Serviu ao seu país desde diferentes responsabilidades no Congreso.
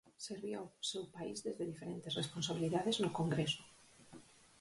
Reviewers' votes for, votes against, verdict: 0, 4, rejected